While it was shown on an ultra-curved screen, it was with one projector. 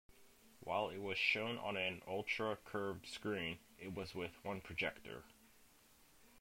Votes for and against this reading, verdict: 1, 2, rejected